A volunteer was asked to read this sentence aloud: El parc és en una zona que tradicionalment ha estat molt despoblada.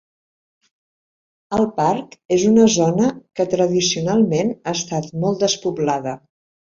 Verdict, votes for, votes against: accepted, 3, 0